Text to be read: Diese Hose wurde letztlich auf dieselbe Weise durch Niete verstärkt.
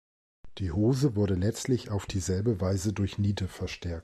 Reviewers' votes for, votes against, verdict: 1, 2, rejected